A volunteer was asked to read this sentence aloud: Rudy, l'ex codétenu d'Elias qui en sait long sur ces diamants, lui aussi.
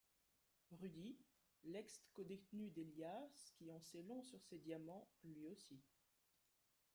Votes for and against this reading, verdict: 0, 2, rejected